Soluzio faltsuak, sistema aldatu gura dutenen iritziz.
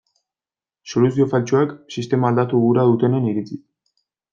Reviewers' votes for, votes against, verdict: 1, 2, rejected